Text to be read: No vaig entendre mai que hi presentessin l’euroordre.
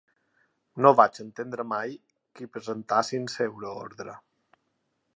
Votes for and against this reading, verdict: 2, 4, rejected